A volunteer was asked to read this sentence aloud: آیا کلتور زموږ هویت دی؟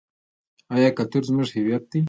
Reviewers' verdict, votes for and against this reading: accepted, 2, 0